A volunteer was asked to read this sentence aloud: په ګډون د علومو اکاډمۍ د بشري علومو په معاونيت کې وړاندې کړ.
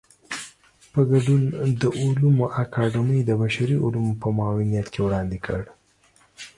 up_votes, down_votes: 2, 0